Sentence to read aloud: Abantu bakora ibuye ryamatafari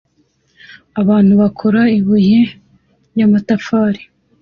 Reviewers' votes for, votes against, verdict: 2, 0, accepted